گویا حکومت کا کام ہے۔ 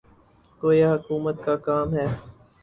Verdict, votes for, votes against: rejected, 0, 2